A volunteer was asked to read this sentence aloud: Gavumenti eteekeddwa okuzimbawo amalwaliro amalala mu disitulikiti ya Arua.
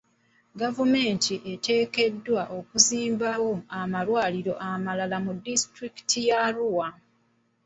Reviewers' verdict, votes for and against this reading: accepted, 2, 0